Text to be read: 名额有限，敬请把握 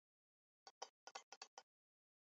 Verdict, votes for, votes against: rejected, 0, 3